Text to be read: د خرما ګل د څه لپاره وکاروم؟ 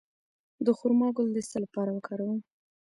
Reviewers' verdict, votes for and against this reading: accepted, 2, 0